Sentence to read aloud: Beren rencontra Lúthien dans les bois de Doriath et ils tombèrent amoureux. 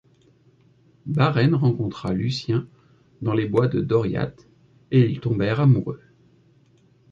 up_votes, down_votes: 1, 2